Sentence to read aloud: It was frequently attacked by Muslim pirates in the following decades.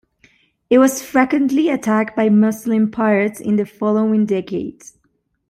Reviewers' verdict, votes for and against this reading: rejected, 0, 2